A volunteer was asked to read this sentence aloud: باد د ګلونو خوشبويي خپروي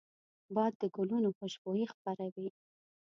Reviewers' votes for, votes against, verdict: 2, 0, accepted